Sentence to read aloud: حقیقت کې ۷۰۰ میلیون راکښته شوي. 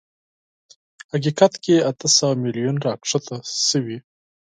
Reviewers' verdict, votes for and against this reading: rejected, 0, 2